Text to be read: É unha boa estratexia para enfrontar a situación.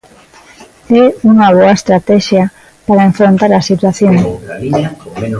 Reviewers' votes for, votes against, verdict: 0, 2, rejected